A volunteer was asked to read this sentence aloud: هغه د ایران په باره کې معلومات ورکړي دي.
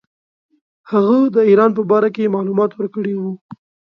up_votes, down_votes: 1, 2